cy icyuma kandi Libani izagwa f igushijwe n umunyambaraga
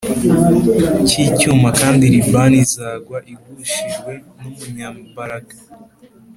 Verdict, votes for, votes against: accepted, 3, 0